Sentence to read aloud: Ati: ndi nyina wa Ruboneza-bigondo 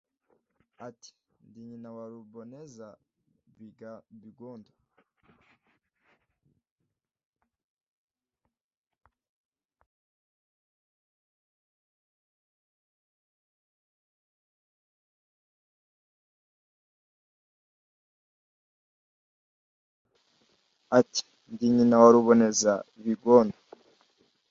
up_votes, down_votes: 0, 2